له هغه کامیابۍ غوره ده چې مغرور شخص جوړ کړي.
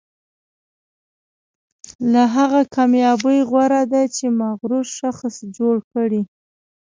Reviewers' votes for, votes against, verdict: 0, 2, rejected